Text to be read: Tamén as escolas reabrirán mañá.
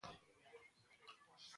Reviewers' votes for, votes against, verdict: 0, 2, rejected